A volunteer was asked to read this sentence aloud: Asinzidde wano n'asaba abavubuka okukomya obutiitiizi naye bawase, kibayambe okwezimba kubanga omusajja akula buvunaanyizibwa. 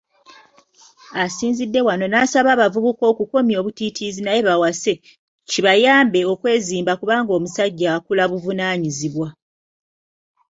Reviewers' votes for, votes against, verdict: 2, 0, accepted